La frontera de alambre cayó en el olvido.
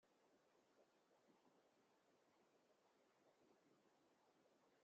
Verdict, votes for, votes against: rejected, 0, 2